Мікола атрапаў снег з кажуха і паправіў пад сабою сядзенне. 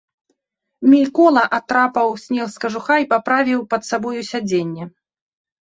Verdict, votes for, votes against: rejected, 0, 2